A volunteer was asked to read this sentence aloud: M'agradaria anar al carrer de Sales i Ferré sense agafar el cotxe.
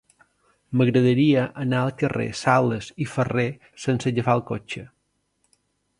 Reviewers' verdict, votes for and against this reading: rejected, 0, 2